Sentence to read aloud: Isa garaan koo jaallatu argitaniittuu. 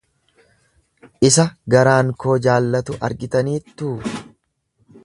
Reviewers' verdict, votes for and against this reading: accepted, 2, 0